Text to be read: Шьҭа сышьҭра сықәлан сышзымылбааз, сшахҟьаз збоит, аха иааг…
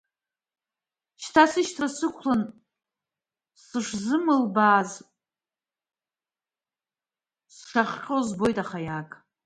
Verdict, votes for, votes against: rejected, 0, 2